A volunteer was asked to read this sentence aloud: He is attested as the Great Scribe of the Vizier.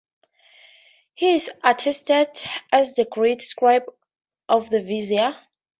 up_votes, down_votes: 2, 0